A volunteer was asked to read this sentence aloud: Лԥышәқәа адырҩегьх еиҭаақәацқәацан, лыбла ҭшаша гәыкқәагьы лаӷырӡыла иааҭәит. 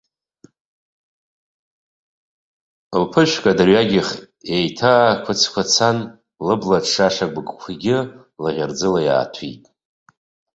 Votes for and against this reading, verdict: 2, 0, accepted